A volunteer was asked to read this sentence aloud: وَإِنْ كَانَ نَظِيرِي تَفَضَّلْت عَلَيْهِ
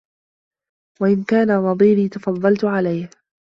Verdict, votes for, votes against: accepted, 2, 1